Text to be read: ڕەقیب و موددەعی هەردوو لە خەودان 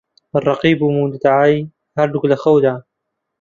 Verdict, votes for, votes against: rejected, 1, 2